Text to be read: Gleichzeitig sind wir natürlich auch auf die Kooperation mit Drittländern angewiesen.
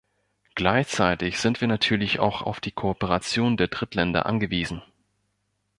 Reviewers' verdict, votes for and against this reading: rejected, 0, 2